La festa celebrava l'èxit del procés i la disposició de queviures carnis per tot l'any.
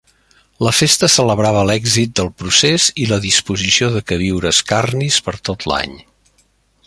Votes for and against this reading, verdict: 2, 0, accepted